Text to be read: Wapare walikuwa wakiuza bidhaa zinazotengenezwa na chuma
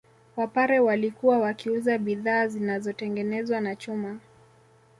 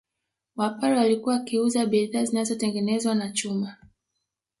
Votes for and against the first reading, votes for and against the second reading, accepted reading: 2, 0, 1, 2, first